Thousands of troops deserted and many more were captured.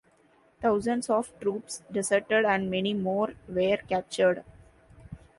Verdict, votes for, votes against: accepted, 2, 1